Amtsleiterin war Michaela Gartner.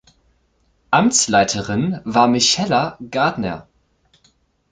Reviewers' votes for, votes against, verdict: 1, 2, rejected